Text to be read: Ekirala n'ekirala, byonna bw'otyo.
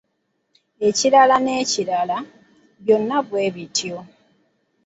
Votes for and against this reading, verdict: 1, 2, rejected